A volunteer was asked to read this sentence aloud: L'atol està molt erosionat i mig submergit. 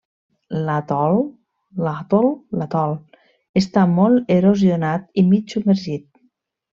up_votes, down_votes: 1, 2